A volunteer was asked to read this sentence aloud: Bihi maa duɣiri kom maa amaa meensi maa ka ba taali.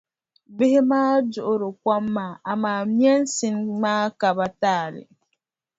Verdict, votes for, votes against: rejected, 0, 2